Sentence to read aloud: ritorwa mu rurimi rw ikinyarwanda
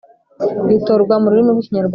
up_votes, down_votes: 1, 2